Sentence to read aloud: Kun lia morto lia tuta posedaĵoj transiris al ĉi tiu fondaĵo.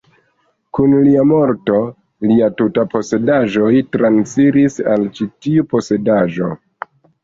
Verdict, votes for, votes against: rejected, 1, 2